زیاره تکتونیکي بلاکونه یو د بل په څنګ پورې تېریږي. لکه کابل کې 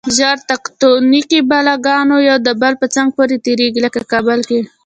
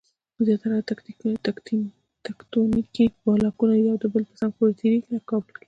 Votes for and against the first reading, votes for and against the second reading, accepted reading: 1, 2, 2, 0, second